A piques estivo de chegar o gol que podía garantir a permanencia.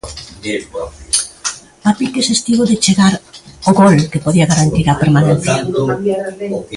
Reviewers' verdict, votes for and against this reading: rejected, 0, 2